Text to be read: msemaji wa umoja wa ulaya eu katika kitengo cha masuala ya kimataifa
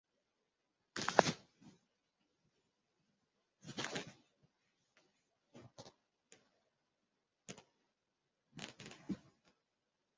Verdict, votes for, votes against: rejected, 0, 2